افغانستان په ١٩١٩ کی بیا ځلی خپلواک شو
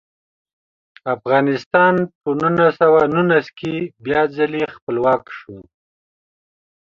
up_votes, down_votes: 0, 2